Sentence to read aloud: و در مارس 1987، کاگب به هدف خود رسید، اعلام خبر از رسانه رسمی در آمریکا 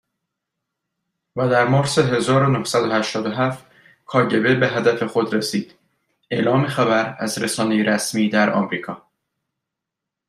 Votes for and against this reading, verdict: 0, 2, rejected